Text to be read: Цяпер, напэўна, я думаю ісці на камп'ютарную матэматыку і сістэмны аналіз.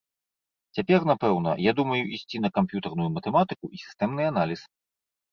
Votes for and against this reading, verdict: 2, 0, accepted